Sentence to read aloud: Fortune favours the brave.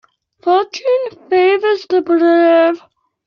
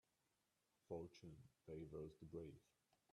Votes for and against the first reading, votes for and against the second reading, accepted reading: 0, 2, 2, 1, second